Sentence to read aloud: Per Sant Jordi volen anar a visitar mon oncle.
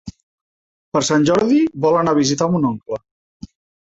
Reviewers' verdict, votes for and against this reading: rejected, 1, 2